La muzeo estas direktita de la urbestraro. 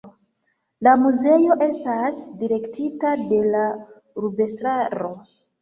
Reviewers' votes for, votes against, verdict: 2, 1, accepted